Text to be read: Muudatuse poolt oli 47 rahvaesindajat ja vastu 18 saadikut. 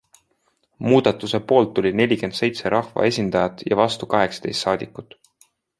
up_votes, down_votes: 0, 2